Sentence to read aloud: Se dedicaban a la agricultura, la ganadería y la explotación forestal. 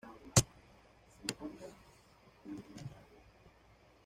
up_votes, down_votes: 1, 2